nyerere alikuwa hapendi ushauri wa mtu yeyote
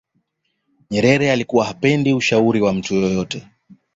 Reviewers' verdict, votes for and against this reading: accepted, 2, 0